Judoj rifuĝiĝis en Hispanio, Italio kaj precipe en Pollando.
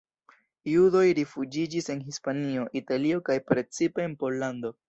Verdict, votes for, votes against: accepted, 2, 0